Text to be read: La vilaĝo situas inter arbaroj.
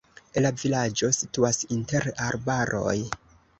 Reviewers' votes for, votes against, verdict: 2, 0, accepted